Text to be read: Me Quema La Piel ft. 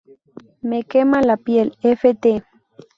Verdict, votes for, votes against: rejected, 0, 2